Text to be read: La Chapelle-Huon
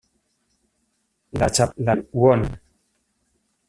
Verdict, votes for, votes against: rejected, 0, 2